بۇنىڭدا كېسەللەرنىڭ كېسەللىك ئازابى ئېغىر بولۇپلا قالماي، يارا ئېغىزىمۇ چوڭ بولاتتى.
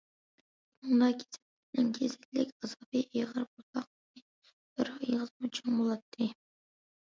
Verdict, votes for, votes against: rejected, 0, 2